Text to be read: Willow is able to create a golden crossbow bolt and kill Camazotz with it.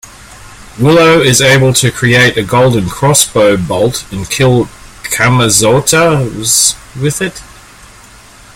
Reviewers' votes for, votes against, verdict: 0, 2, rejected